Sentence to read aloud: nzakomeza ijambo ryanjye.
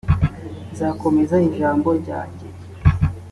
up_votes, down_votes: 3, 0